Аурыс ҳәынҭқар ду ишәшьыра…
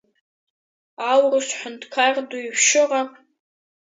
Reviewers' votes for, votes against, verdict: 0, 2, rejected